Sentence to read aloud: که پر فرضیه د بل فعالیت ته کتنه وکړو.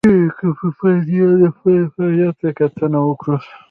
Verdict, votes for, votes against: rejected, 1, 2